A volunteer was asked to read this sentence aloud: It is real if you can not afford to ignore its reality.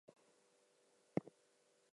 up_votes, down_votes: 0, 2